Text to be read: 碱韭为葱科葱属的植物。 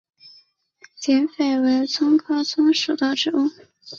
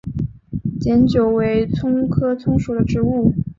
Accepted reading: second